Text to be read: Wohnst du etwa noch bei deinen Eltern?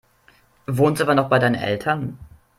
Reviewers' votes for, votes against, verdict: 0, 2, rejected